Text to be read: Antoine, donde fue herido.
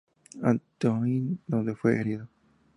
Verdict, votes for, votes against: accepted, 2, 0